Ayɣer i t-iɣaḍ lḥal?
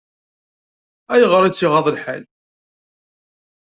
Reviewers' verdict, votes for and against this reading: rejected, 1, 2